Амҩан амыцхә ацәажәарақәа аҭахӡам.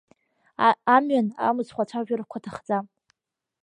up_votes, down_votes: 0, 2